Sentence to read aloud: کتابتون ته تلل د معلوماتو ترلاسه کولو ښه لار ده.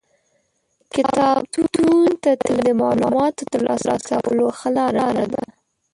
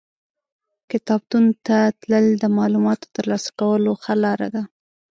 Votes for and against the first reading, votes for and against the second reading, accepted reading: 0, 2, 2, 0, second